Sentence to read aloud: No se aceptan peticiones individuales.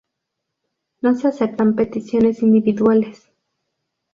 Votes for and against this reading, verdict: 2, 0, accepted